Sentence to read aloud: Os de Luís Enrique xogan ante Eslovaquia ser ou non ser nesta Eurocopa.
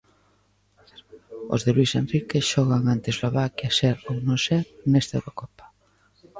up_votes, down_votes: 1, 2